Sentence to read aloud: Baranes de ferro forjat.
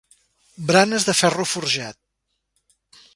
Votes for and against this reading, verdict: 0, 2, rejected